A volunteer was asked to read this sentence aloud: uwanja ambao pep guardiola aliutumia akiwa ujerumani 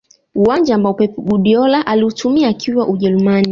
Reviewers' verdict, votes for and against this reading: rejected, 0, 2